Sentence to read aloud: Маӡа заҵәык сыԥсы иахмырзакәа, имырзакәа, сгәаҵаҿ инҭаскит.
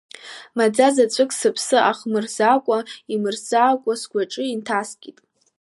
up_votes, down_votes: 2, 0